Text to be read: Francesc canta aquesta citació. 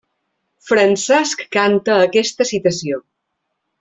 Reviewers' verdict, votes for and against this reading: accepted, 3, 0